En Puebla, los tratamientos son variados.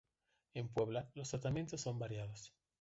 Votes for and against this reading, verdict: 2, 0, accepted